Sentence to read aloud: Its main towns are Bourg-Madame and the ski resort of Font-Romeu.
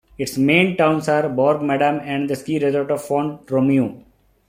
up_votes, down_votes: 2, 0